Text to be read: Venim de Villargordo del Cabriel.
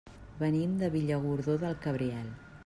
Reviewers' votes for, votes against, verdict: 0, 2, rejected